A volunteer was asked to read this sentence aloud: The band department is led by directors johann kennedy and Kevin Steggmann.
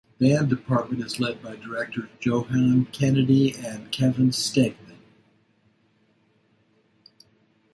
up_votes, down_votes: 1, 2